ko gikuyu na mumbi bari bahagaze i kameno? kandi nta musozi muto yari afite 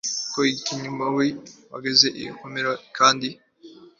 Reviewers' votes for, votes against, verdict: 0, 2, rejected